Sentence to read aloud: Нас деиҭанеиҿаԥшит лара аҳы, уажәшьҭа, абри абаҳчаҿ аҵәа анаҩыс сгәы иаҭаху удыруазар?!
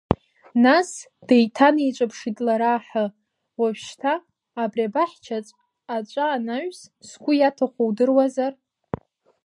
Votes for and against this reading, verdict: 1, 2, rejected